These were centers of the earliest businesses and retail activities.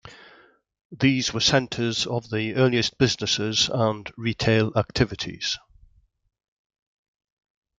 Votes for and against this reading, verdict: 3, 0, accepted